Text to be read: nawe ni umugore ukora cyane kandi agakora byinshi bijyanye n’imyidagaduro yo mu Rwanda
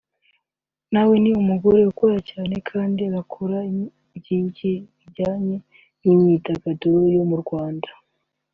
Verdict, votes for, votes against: rejected, 1, 2